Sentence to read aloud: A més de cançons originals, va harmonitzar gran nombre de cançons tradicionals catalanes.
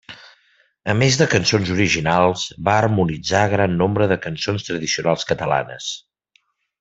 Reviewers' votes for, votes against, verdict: 3, 0, accepted